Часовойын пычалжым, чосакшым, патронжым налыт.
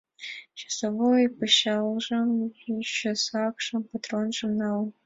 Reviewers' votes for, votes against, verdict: 2, 1, accepted